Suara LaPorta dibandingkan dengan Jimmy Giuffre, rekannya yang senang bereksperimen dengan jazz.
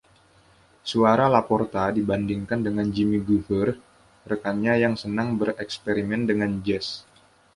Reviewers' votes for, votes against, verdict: 2, 0, accepted